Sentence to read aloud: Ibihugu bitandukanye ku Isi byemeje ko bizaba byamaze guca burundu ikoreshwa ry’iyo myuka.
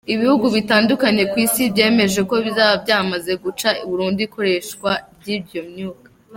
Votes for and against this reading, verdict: 2, 0, accepted